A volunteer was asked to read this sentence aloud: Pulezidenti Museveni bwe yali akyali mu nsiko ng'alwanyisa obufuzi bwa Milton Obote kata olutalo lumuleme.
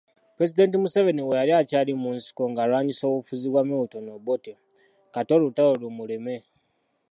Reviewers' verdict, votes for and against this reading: rejected, 1, 2